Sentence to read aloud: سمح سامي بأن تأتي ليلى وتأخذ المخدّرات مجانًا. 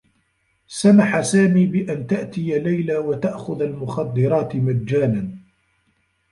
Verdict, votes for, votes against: accepted, 2, 1